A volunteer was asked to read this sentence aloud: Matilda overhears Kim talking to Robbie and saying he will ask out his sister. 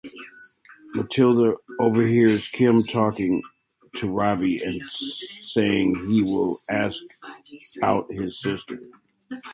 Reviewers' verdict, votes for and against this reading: accepted, 2, 0